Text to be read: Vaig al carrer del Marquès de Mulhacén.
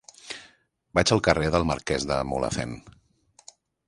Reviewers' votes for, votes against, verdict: 2, 0, accepted